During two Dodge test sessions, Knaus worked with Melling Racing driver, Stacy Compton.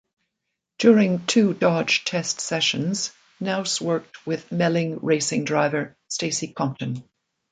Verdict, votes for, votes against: rejected, 0, 2